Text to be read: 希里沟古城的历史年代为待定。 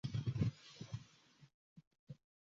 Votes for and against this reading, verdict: 0, 2, rejected